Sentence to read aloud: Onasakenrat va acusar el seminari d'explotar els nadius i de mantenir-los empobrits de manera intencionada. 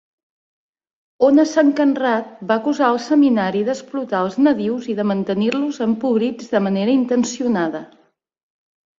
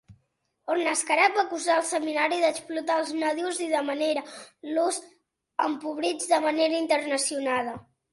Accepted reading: first